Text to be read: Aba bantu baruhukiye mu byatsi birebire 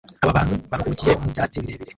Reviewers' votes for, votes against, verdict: 1, 2, rejected